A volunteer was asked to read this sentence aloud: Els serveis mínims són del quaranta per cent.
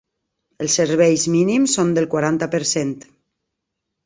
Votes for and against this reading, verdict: 3, 0, accepted